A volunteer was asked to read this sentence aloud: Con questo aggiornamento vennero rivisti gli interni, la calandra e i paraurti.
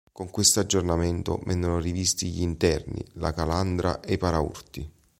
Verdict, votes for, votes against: accepted, 2, 0